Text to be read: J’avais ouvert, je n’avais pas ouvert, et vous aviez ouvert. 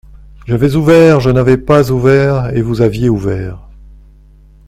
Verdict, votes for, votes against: accepted, 2, 1